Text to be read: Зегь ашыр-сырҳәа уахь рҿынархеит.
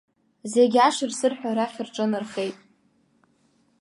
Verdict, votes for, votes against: accepted, 2, 1